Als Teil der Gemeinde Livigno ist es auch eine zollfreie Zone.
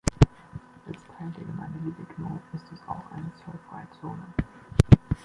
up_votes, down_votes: 1, 2